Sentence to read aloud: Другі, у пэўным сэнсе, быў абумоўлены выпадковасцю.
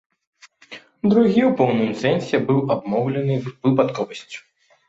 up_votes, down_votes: 0, 2